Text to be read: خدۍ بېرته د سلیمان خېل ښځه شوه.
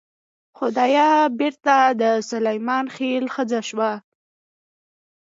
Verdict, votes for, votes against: rejected, 1, 2